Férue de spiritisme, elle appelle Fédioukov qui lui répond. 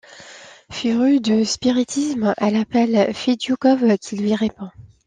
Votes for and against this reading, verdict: 2, 0, accepted